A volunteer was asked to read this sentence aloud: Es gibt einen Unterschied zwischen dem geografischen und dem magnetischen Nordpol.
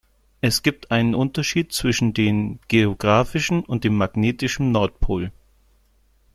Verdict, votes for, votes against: rejected, 1, 2